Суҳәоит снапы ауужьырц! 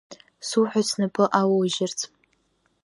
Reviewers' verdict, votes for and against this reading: accepted, 2, 0